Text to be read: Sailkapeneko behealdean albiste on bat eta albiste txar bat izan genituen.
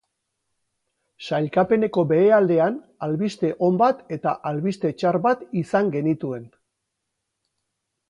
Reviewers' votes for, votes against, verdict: 2, 2, rejected